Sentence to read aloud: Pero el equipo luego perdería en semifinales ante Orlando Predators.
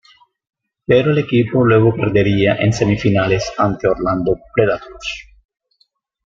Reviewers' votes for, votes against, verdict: 1, 2, rejected